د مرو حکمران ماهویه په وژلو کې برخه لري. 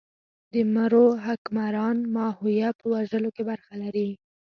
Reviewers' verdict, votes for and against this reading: accepted, 2, 1